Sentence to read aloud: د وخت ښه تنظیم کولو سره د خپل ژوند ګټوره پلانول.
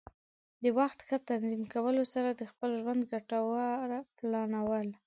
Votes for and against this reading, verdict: 2, 0, accepted